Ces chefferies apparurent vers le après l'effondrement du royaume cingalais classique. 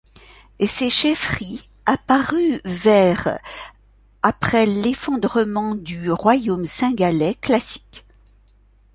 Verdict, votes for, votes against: rejected, 0, 2